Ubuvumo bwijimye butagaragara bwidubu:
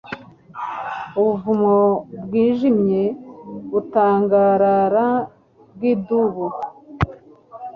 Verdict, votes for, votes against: rejected, 1, 2